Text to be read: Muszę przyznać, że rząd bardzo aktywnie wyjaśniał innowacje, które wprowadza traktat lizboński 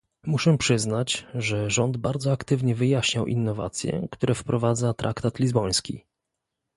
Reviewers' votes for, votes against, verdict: 2, 0, accepted